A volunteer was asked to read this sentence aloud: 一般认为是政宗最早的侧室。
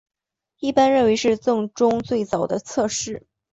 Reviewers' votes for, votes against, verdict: 4, 0, accepted